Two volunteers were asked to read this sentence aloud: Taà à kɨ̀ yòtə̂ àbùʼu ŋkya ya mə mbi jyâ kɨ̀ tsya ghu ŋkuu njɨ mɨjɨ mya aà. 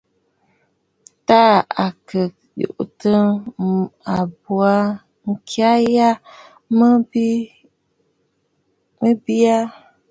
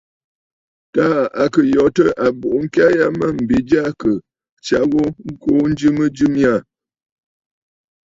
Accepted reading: second